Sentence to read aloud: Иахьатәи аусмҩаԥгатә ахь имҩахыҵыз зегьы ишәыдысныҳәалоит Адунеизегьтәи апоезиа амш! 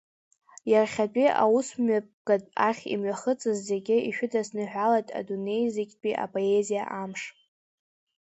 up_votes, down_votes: 2, 0